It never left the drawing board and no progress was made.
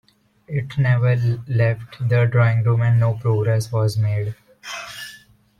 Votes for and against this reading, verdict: 1, 2, rejected